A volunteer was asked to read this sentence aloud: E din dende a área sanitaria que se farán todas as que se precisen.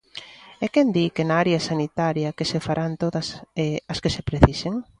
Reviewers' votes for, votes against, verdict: 0, 2, rejected